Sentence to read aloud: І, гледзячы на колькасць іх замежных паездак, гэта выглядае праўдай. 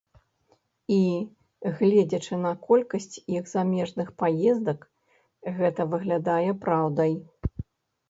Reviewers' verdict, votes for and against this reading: rejected, 1, 2